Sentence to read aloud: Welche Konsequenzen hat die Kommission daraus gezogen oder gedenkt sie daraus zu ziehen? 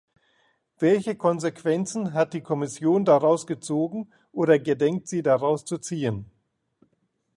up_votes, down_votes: 2, 0